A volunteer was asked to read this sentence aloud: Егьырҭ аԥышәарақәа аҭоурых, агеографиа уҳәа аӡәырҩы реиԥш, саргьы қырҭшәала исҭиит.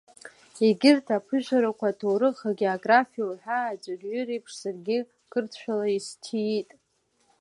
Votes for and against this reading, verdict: 3, 1, accepted